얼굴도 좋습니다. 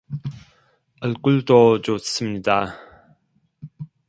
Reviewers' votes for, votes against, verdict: 0, 2, rejected